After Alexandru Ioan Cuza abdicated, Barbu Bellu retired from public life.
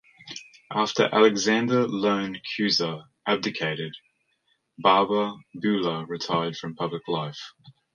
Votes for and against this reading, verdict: 1, 2, rejected